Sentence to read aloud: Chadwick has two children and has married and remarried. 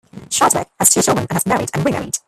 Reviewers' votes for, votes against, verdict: 1, 2, rejected